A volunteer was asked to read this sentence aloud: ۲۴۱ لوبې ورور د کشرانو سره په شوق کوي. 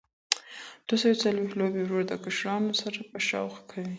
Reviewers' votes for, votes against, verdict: 0, 2, rejected